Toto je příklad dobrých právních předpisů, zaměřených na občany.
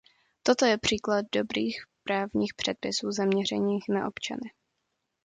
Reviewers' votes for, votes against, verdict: 2, 1, accepted